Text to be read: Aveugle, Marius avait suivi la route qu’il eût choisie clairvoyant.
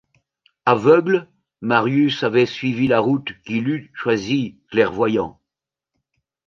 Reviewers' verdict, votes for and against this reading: accepted, 2, 0